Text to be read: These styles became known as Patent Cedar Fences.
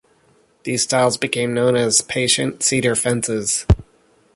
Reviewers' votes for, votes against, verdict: 0, 2, rejected